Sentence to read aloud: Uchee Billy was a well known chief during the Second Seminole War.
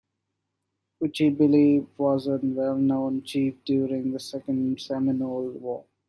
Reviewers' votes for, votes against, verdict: 2, 1, accepted